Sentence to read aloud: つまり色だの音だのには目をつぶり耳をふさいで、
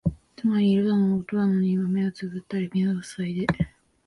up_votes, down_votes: 0, 2